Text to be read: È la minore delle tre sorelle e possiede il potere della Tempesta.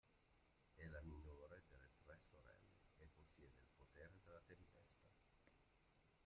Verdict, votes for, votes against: rejected, 0, 2